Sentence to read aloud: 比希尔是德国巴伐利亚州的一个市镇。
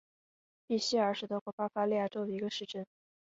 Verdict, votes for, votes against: accepted, 6, 1